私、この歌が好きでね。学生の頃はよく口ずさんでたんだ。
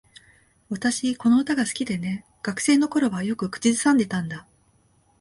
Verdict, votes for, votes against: accepted, 2, 0